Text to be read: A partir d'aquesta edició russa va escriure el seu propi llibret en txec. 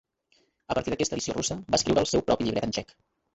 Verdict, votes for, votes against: rejected, 1, 2